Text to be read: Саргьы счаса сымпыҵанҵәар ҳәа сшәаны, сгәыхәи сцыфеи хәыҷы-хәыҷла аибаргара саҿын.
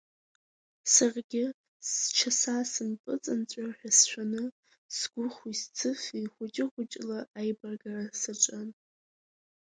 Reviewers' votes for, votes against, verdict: 3, 2, accepted